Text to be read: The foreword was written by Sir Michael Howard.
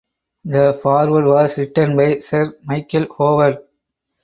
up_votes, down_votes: 4, 0